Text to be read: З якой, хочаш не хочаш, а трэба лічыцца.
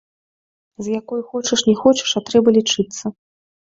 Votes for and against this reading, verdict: 0, 2, rejected